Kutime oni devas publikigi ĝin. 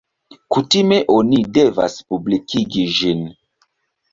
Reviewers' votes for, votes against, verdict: 2, 0, accepted